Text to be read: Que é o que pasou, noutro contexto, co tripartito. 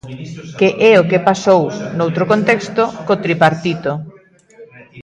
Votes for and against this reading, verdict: 1, 2, rejected